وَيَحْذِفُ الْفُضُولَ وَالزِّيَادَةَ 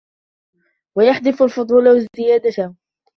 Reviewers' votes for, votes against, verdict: 2, 0, accepted